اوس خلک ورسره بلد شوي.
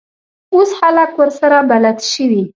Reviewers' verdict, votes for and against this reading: accepted, 2, 0